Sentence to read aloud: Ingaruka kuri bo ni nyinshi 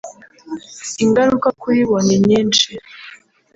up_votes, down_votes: 1, 2